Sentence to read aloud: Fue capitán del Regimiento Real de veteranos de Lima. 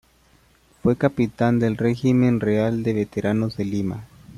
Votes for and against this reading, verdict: 0, 2, rejected